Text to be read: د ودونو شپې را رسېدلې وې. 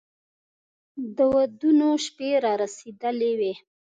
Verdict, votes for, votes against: accepted, 2, 0